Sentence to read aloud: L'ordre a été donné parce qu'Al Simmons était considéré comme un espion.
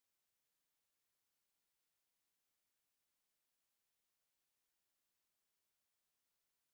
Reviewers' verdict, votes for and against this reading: rejected, 0, 2